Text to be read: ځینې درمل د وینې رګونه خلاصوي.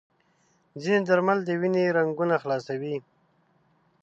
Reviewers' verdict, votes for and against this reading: rejected, 0, 2